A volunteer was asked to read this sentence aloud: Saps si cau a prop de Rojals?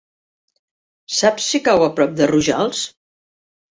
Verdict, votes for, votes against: accepted, 2, 0